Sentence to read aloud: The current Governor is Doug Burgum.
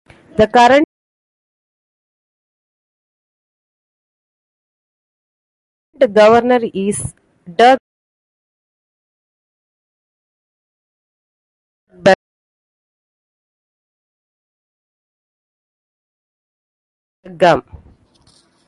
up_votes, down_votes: 0, 2